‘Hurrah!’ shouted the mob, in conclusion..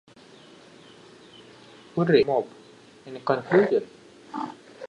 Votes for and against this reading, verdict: 0, 2, rejected